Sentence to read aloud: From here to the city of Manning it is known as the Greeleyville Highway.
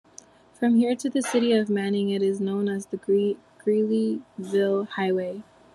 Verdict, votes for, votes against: rejected, 1, 2